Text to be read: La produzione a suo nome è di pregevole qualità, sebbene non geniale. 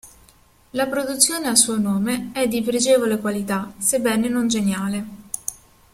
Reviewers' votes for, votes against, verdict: 2, 0, accepted